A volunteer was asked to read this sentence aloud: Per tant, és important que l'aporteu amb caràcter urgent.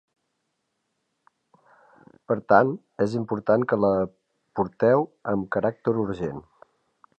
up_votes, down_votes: 2, 1